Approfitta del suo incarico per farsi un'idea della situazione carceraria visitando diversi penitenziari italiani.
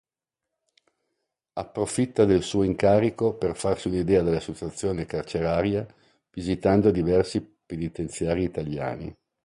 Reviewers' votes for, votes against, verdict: 2, 0, accepted